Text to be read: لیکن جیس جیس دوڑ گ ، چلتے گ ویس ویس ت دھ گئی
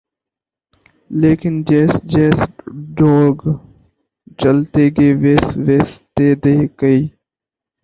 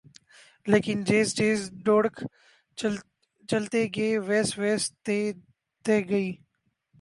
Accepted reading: first